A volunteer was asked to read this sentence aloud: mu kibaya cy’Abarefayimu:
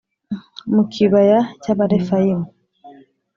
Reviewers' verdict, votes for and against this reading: accepted, 2, 0